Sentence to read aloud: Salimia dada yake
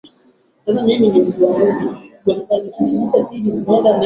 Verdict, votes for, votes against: rejected, 0, 3